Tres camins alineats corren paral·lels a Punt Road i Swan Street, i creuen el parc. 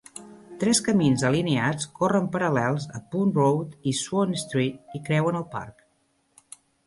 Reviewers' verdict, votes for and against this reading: accepted, 2, 0